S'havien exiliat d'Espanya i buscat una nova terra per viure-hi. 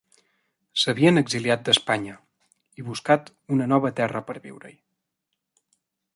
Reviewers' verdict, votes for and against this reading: accepted, 3, 1